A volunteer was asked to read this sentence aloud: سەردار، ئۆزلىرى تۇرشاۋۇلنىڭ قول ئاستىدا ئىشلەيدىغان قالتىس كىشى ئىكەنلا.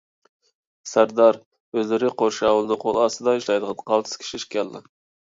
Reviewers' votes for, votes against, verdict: 1, 2, rejected